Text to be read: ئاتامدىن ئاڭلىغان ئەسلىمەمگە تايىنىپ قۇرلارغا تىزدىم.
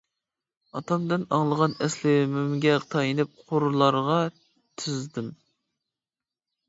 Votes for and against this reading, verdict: 2, 1, accepted